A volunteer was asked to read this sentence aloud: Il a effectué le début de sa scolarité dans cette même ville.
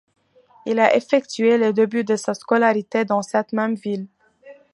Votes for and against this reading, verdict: 2, 0, accepted